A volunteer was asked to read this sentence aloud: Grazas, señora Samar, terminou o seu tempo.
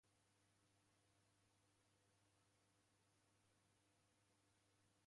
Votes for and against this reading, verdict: 0, 2, rejected